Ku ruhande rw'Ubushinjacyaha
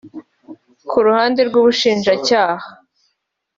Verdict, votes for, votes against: accepted, 2, 0